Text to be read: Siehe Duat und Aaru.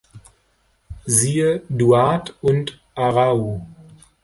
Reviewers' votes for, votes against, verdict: 2, 3, rejected